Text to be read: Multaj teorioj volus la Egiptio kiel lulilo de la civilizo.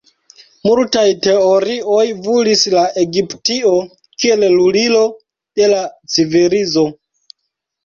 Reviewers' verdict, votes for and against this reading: rejected, 0, 2